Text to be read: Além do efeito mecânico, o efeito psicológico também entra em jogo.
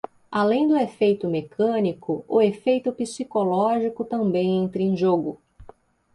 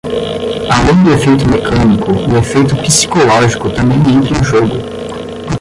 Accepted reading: first